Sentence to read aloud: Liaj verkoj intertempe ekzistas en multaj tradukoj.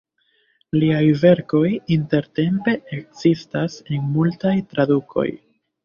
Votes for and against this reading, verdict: 2, 1, accepted